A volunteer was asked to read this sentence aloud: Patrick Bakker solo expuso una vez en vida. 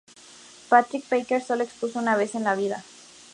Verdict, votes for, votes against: accepted, 2, 0